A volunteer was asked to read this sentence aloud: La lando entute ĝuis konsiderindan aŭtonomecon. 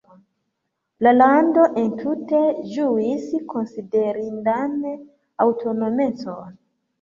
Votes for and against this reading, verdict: 2, 0, accepted